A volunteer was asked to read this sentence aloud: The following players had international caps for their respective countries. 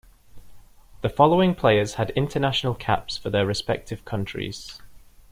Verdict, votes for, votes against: accepted, 2, 1